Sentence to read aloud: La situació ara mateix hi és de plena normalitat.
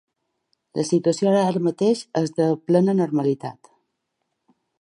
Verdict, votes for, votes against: rejected, 2, 3